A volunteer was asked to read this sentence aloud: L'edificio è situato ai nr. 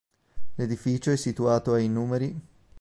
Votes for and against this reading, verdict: 1, 2, rejected